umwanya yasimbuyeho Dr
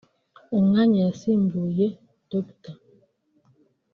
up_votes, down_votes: 1, 2